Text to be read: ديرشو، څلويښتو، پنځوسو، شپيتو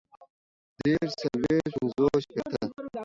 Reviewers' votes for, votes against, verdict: 0, 3, rejected